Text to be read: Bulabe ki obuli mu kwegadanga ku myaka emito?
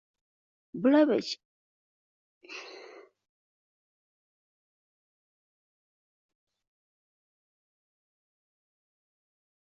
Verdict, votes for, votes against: rejected, 0, 2